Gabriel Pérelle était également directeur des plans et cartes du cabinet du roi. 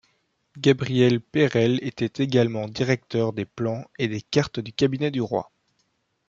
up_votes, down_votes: 0, 2